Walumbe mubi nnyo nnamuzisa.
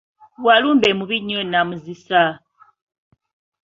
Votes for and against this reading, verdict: 2, 0, accepted